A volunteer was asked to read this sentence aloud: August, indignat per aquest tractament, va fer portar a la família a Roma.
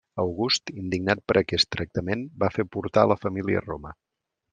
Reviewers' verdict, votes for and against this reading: accepted, 2, 0